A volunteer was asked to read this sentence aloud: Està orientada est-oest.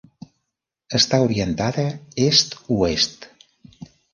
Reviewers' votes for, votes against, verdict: 1, 2, rejected